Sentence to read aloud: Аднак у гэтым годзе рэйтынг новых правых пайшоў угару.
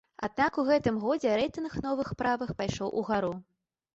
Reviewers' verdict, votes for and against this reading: accepted, 2, 0